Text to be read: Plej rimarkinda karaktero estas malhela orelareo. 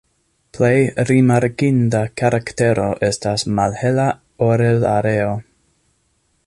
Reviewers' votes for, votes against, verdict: 2, 0, accepted